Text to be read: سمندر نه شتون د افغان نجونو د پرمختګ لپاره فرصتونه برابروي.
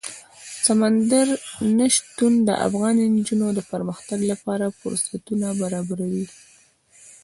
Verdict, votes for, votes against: accepted, 2, 0